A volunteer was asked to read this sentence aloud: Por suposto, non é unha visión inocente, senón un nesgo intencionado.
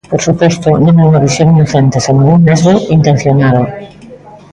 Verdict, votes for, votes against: accepted, 2, 0